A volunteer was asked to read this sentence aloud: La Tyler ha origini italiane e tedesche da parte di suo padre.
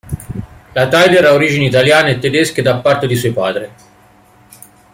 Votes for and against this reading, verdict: 1, 3, rejected